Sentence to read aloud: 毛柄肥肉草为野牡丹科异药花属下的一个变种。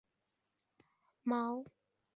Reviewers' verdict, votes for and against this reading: accepted, 4, 1